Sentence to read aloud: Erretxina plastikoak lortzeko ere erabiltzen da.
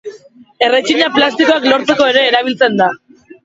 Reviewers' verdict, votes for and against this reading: rejected, 1, 2